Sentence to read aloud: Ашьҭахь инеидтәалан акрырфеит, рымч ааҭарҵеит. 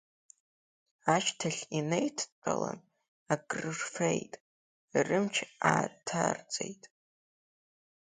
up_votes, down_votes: 2, 1